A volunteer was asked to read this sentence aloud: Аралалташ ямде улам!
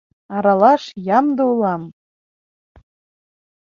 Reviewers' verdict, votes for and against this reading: rejected, 0, 2